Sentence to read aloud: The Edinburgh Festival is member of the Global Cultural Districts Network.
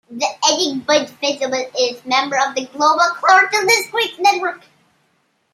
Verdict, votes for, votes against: rejected, 0, 2